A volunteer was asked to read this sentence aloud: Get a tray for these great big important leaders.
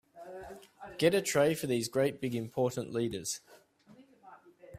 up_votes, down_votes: 2, 1